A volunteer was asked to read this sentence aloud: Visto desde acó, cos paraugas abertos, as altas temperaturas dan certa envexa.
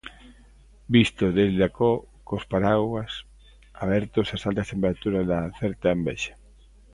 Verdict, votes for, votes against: accepted, 2, 0